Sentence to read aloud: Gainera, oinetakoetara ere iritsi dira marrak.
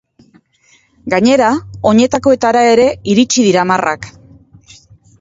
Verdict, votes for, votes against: accepted, 2, 0